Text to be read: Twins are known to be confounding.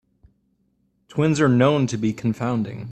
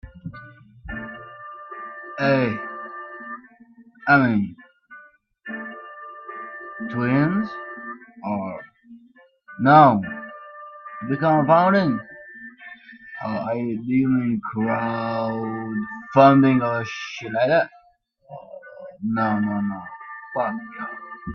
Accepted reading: first